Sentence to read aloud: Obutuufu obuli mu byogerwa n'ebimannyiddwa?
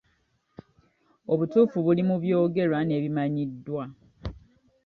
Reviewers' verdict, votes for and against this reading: rejected, 1, 2